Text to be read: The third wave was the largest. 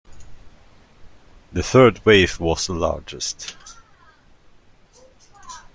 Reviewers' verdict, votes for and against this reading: rejected, 0, 2